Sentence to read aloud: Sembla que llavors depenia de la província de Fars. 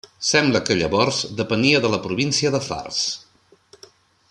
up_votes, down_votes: 3, 0